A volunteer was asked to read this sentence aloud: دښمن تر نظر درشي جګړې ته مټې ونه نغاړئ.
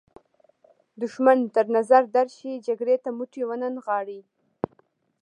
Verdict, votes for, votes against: rejected, 1, 2